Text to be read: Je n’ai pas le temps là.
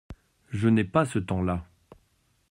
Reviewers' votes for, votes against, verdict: 0, 2, rejected